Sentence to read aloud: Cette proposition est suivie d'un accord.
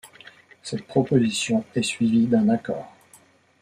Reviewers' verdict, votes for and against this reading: accepted, 2, 0